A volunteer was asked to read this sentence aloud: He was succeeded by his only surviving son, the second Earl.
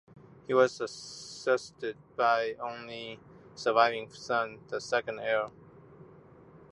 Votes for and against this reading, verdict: 1, 2, rejected